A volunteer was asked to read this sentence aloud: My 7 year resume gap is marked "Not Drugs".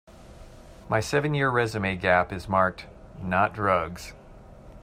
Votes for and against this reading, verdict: 0, 2, rejected